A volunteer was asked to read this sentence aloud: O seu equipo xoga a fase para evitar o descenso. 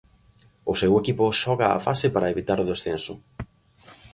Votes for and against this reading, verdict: 2, 0, accepted